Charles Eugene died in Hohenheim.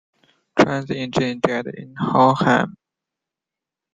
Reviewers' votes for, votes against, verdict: 0, 2, rejected